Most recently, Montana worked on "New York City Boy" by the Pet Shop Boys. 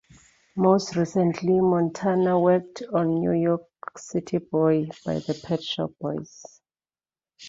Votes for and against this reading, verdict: 3, 1, accepted